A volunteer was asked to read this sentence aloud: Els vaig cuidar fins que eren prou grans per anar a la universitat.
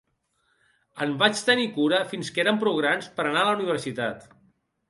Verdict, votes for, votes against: rejected, 0, 2